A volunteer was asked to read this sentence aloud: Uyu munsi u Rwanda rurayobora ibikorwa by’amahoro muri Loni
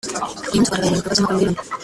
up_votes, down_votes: 0, 2